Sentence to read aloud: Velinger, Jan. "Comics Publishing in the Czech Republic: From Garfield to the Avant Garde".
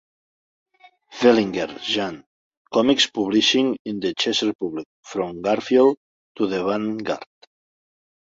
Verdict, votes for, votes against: accepted, 2, 1